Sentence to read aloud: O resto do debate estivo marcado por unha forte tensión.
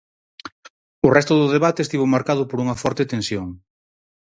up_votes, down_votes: 4, 0